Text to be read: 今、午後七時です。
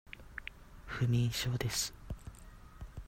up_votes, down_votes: 0, 2